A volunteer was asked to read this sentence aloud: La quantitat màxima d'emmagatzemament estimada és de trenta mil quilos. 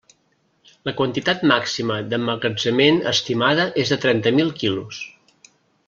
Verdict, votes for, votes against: accepted, 2, 1